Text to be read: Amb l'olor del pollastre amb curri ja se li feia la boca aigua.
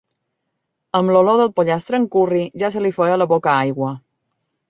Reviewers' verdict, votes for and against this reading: accepted, 2, 0